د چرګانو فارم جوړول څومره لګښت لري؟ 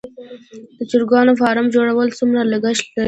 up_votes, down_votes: 2, 1